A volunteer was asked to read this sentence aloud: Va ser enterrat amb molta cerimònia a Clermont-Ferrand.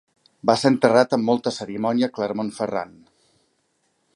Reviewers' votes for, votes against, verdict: 2, 0, accepted